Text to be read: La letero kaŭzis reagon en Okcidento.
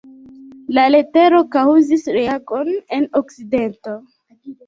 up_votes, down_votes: 0, 2